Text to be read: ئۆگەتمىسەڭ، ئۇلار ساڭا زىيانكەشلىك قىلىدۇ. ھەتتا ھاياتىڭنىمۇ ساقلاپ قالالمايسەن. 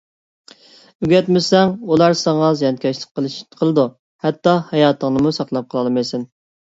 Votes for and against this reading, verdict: 1, 2, rejected